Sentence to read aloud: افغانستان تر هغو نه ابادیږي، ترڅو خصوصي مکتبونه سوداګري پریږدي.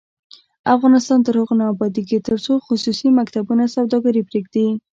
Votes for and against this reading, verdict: 1, 2, rejected